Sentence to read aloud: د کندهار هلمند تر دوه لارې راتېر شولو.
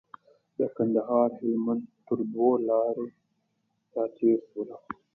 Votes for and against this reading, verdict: 2, 0, accepted